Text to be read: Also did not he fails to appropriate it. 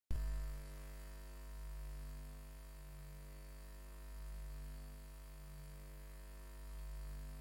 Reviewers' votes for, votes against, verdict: 0, 2, rejected